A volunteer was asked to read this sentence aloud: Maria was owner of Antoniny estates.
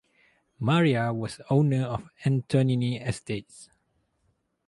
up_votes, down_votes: 2, 0